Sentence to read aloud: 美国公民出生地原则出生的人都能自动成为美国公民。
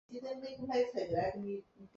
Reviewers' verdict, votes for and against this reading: rejected, 0, 2